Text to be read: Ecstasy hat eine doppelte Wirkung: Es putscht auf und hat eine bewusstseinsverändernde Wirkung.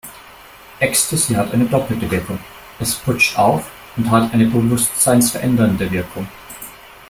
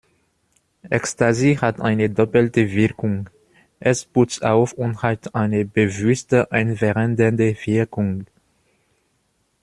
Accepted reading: first